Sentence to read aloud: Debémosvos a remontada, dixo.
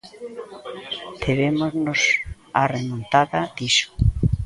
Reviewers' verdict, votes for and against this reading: rejected, 0, 2